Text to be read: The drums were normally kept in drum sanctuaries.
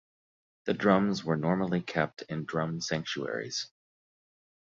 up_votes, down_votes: 2, 1